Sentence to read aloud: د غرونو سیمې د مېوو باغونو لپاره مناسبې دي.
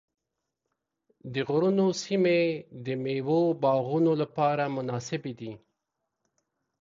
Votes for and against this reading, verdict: 2, 0, accepted